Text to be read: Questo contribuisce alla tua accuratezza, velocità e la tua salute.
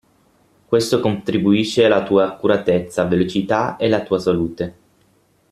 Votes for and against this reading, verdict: 6, 0, accepted